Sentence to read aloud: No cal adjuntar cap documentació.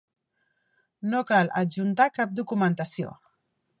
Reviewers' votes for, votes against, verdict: 2, 0, accepted